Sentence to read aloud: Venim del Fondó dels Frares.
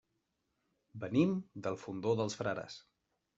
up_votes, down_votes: 2, 0